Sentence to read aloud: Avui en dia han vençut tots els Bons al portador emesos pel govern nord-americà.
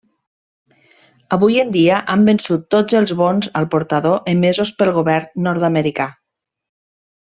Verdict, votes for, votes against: rejected, 1, 2